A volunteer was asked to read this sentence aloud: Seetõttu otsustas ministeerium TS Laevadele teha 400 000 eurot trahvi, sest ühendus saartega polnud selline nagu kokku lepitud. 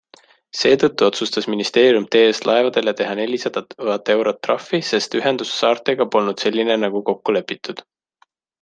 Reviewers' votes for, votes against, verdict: 0, 2, rejected